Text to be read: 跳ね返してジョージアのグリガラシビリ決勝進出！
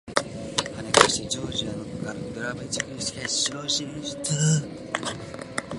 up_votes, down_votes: 3, 1